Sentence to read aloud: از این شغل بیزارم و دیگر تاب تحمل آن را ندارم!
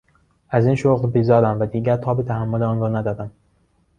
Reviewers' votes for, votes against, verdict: 2, 0, accepted